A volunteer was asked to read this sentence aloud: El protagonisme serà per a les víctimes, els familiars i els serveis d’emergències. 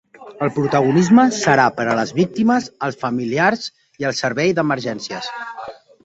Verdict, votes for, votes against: rejected, 0, 2